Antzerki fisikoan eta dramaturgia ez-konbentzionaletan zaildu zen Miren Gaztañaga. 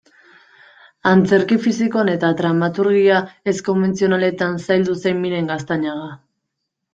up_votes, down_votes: 2, 0